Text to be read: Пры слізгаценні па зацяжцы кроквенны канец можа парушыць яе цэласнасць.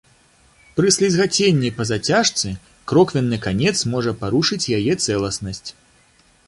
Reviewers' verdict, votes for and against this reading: accepted, 2, 0